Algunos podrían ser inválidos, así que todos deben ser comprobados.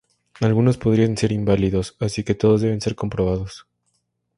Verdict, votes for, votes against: accepted, 4, 0